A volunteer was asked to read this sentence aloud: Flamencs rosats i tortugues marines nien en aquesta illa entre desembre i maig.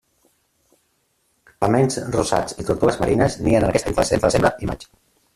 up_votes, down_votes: 0, 2